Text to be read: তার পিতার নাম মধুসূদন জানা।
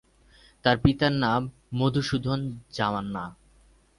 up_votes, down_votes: 0, 4